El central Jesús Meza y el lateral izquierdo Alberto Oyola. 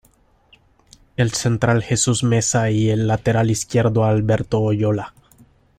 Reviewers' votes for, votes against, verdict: 2, 0, accepted